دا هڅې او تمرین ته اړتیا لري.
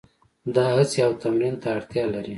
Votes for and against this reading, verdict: 2, 0, accepted